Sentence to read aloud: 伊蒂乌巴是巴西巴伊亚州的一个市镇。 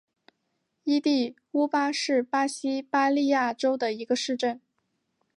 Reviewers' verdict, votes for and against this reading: accepted, 4, 0